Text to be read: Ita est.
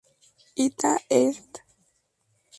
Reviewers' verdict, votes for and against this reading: rejected, 0, 2